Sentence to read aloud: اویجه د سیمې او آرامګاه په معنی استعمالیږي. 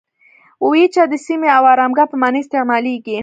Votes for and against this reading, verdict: 2, 0, accepted